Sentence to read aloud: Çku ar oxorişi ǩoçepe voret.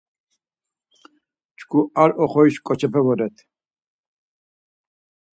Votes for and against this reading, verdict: 4, 0, accepted